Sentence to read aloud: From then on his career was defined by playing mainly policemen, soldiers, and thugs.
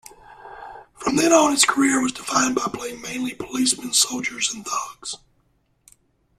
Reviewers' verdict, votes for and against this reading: accepted, 2, 0